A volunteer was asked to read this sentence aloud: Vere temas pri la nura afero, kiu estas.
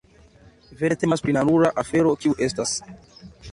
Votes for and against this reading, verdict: 2, 0, accepted